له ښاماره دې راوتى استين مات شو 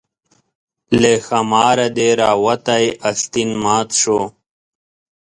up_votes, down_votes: 4, 0